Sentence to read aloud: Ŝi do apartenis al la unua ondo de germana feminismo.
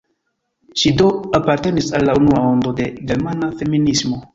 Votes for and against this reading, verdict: 3, 1, accepted